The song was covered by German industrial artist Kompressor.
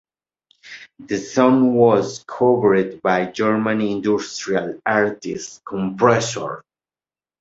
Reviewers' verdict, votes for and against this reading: accepted, 2, 0